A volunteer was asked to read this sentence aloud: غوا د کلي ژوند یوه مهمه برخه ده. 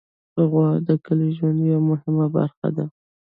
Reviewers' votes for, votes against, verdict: 1, 2, rejected